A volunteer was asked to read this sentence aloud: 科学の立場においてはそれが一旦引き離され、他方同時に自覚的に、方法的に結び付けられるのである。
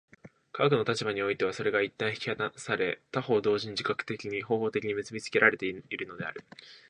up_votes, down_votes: 2, 0